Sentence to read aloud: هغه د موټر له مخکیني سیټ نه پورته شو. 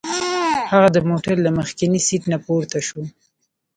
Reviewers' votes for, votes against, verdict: 1, 2, rejected